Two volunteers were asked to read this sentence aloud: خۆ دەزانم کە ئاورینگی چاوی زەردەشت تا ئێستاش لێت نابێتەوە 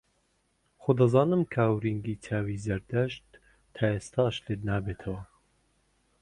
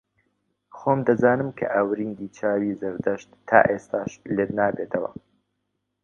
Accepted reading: first